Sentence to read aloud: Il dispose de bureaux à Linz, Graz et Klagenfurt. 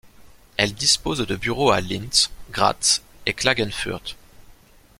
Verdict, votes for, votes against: rejected, 0, 2